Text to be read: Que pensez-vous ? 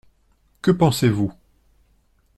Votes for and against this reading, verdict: 2, 0, accepted